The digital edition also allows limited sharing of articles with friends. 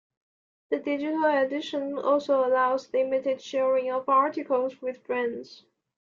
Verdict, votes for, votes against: accepted, 2, 1